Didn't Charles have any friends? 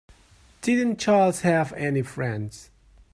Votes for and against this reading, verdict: 3, 1, accepted